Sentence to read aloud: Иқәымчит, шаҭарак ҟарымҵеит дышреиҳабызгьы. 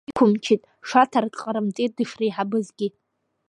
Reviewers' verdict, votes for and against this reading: rejected, 0, 2